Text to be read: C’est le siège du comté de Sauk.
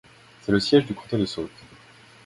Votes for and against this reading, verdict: 2, 1, accepted